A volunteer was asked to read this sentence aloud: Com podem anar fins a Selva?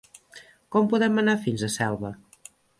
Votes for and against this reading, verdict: 1, 2, rejected